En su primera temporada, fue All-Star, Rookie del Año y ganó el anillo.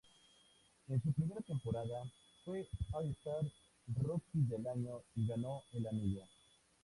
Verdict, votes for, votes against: accepted, 2, 0